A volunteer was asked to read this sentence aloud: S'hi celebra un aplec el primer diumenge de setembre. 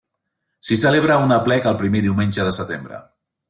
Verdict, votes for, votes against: accepted, 2, 0